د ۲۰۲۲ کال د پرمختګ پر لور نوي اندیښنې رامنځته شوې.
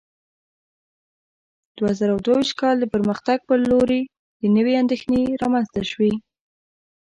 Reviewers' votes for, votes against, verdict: 0, 2, rejected